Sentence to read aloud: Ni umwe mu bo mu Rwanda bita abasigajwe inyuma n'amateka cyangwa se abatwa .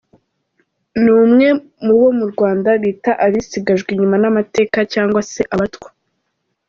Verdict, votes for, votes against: rejected, 0, 2